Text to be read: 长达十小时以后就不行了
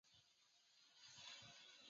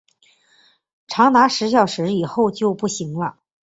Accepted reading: second